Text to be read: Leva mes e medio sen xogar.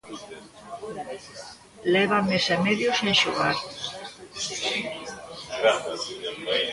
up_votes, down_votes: 2, 0